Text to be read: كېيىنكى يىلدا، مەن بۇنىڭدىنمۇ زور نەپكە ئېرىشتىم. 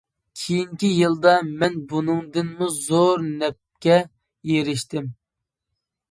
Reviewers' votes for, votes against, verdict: 2, 0, accepted